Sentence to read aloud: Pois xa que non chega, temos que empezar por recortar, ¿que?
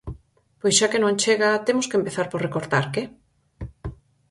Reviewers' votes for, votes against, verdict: 4, 0, accepted